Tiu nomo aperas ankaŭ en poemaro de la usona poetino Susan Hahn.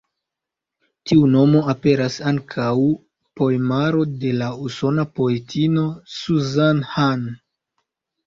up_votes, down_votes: 3, 2